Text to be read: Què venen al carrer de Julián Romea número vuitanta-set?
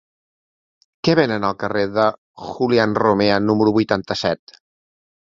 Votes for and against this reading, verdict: 2, 0, accepted